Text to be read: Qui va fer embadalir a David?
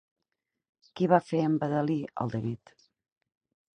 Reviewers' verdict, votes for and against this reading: rejected, 2, 4